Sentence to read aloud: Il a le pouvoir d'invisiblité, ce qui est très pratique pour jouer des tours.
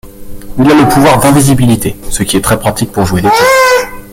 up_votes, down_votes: 0, 3